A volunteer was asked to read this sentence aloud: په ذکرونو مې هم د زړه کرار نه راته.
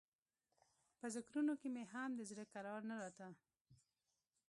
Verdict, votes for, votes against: rejected, 1, 2